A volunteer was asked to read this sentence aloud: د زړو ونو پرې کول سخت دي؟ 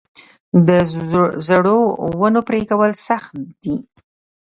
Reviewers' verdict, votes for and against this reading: accepted, 2, 0